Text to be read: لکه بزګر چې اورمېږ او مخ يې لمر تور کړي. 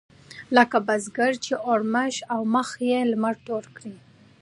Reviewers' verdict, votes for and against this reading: accepted, 2, 1